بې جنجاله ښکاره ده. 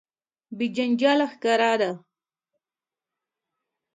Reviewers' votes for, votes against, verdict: 2, 0, accepted